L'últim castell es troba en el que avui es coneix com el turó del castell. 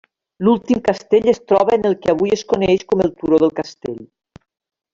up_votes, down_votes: 3, 0